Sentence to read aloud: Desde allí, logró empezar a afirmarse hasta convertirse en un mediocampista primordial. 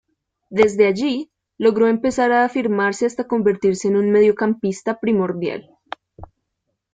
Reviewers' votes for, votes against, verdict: 2, 0, accepted